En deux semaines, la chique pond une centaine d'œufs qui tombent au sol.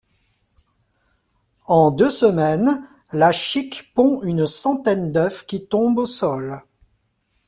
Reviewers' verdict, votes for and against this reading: rejected, 0, 2